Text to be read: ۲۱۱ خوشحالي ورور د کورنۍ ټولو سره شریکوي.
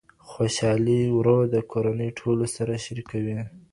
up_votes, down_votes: 0, 2